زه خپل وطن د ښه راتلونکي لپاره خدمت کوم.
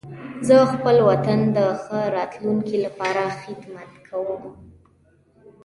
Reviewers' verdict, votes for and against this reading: rejected, 1, 2